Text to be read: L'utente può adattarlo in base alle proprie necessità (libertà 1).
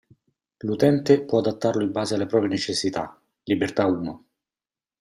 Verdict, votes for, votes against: rejected, 0, 2